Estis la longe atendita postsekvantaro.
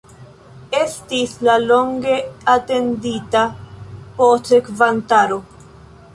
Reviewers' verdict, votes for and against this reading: rejected, 0, 2